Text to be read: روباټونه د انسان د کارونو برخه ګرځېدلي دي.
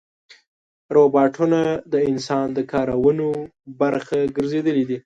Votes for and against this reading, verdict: 1, 2, rejected